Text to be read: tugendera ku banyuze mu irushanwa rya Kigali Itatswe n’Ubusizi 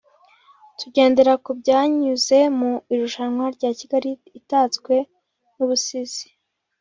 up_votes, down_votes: 1, 2